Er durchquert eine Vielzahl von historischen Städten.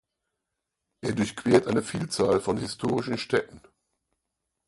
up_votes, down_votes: 2, 4